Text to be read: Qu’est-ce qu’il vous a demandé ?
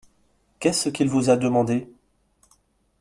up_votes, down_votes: 2, 0